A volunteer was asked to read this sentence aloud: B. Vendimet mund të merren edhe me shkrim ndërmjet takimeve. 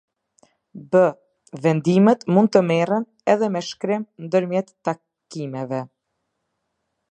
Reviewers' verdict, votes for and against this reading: accepted, 2, 0